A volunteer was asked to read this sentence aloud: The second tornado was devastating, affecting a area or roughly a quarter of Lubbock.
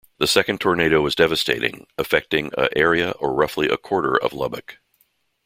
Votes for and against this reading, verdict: 1, 2, rejected